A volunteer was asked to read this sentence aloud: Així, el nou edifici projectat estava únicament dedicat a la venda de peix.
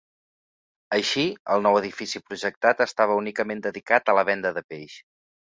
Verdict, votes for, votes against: accepted, 2, 0